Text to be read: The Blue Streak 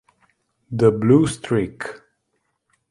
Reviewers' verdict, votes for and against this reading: accepted, 2, 0